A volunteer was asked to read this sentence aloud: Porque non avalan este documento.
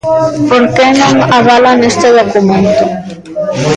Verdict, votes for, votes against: rejected, 0, 2